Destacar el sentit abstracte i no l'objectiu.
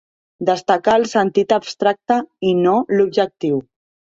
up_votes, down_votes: 3, 0